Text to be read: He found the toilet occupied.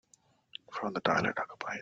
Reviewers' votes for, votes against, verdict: 0, 2, rejected